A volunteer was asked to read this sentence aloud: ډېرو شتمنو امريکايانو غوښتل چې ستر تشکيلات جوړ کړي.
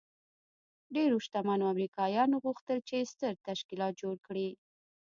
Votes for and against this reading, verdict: 2, 1, accepted